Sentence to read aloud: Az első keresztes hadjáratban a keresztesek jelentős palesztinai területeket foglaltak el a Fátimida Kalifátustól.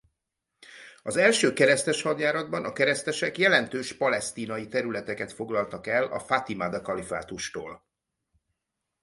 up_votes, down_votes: 2, 2